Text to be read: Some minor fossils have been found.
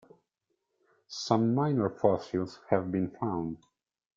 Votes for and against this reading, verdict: 0, 2, rejected